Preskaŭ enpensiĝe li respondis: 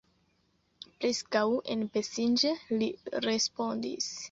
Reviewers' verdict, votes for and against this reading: rejected, 0, 2